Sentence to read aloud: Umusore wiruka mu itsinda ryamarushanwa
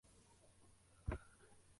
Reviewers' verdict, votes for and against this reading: rejected, 0, 2